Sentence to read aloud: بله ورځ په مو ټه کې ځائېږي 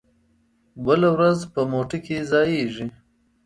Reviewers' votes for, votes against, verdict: 2, 0, accepted